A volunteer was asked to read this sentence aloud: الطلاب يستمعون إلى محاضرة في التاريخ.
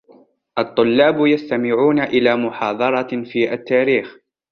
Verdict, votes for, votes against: rejected, 0, 2